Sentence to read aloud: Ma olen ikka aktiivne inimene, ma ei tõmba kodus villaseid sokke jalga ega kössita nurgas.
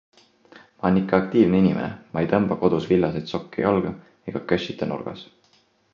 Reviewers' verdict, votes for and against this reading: accepted, 2, 1